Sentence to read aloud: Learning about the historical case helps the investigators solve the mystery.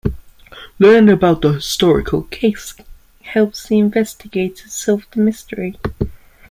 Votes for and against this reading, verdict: 2, 1, accepted